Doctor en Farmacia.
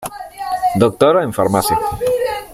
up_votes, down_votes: 1, 2